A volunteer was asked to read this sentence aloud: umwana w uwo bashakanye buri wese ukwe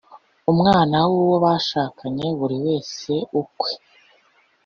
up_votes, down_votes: 2, 0